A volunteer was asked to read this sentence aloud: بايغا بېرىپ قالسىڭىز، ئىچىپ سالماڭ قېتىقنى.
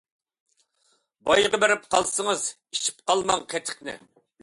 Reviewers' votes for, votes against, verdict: 0, 2, rejected